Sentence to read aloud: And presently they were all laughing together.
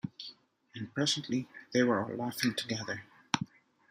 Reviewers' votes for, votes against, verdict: 1, 2, rejected